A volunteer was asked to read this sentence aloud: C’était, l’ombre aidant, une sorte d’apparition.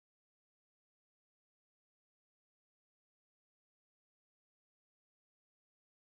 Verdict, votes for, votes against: rejected, 0, 2